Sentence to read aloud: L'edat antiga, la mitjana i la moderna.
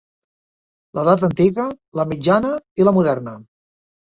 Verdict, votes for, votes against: accepted, 4, 0